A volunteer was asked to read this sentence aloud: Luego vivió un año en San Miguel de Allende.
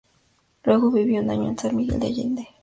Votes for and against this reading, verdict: 0, 2, rejected